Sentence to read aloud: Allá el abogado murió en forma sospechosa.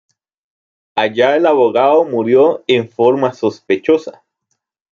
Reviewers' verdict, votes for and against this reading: accepted, 2, 0